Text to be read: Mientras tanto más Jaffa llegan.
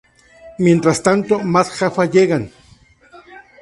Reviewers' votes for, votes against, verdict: 2, 0, accepted